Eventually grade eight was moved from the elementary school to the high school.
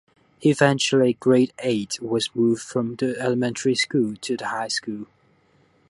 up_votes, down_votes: 2, 0